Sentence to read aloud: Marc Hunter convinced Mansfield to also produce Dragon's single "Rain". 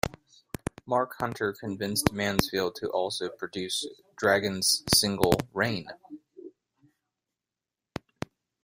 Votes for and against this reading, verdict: 2, 0, accepted